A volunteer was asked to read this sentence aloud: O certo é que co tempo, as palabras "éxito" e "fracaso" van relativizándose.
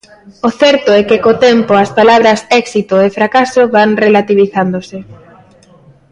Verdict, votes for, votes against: rejected, 1, 2